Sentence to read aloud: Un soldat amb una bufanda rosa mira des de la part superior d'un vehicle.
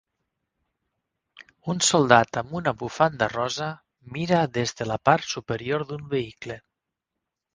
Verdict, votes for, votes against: accepted, 6, 0